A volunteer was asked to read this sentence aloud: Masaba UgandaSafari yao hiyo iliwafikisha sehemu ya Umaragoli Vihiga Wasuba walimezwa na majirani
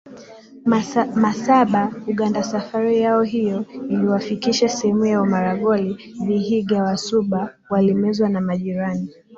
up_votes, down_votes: 2, 0